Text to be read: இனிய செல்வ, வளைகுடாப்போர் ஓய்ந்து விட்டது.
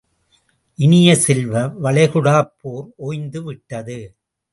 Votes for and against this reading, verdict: 2, 0, accepted